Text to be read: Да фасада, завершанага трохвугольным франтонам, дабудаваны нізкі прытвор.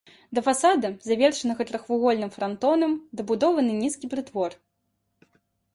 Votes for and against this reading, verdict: 0, 2, rejected